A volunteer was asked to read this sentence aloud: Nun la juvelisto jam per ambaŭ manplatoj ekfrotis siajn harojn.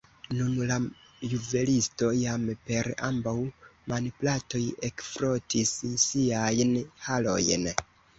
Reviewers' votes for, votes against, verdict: 2, 1, accepted